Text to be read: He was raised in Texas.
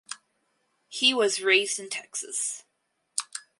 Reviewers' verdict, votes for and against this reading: accepted, 4, 0